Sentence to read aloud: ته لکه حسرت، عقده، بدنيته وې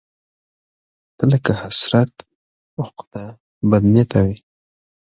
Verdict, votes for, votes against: accepted, 2, 0